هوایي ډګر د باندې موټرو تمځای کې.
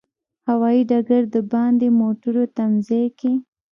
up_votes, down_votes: 1, 2